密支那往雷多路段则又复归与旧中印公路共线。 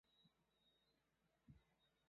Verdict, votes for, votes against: rejected, 0, 2